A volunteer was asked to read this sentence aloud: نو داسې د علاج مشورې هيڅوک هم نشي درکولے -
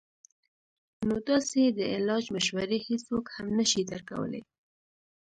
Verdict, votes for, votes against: rejected, 1, 2